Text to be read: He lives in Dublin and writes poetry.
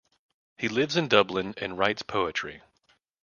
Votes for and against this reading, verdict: 2, 0, accepted